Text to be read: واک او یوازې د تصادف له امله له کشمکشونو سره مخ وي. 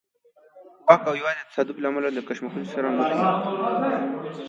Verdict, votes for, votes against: rejected, 1, 2